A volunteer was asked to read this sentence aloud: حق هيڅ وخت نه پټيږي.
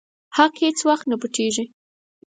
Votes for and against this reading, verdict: 4, 0, accepted